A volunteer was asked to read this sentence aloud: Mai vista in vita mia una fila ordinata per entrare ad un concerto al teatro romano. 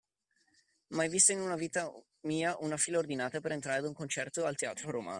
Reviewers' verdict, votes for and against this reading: rejected, 1, 2